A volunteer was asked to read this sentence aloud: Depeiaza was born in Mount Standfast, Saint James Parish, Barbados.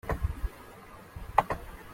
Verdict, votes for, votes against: rejected, 0, 2